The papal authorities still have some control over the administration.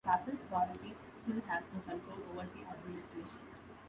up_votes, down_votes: 0, 2